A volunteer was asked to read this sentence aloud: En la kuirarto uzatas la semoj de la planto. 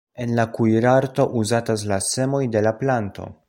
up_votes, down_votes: 2, 0